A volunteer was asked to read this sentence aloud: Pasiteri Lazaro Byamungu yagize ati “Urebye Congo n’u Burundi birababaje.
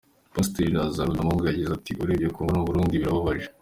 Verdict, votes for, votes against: accepted, 2, 1